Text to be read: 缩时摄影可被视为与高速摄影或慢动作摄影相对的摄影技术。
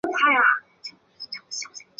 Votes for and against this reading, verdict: 4, 10, rejected